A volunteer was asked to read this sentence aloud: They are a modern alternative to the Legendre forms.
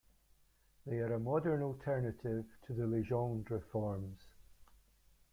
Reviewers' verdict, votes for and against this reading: rejected, 0, 2